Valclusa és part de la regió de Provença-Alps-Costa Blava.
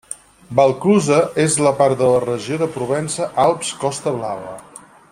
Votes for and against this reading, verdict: 0, 4, rejected